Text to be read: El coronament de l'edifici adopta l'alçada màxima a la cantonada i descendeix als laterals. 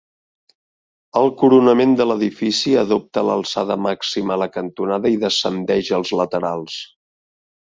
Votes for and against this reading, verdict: 2, 0, accepted